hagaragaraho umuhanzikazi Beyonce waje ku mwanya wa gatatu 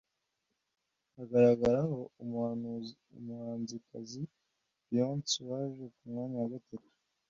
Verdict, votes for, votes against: rejected, 1, 2